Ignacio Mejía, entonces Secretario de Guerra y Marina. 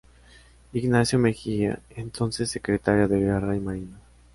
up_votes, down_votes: 2, 0